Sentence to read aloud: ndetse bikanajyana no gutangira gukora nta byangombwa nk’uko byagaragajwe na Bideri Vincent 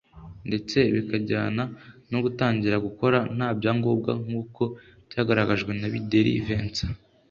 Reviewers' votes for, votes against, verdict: 2, 0, accepted